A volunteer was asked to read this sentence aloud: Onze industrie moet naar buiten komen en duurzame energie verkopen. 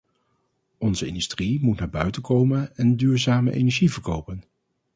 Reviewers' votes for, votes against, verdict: 0, 2, rejected